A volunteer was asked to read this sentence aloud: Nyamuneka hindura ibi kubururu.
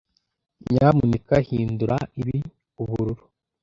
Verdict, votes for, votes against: rejected, 0, 2